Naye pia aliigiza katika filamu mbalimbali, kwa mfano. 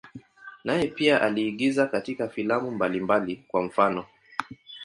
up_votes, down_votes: 15, 1